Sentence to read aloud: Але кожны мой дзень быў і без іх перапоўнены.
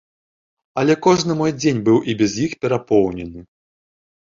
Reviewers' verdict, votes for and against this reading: rejected, 0, 2